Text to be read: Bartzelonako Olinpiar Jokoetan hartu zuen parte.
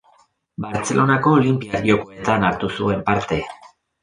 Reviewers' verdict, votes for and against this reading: rejected, 0, 2